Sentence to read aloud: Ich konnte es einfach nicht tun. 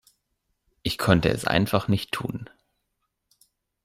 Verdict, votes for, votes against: accepted, 2, 0